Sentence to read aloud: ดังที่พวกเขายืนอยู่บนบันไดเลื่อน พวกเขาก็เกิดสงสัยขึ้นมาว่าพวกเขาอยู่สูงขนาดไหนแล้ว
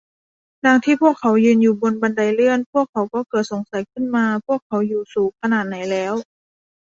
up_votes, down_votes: 0, 2